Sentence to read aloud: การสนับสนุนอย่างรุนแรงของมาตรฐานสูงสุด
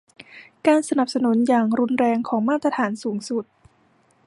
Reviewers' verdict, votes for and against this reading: accepted, 2, 0